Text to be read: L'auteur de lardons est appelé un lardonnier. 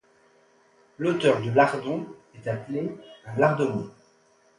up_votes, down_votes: 2, 0